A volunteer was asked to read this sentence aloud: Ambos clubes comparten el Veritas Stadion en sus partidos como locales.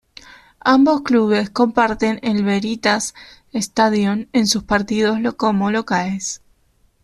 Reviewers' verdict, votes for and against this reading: rejected, 1, 2